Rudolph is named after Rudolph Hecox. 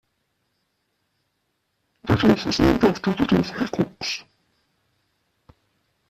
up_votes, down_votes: 0, 2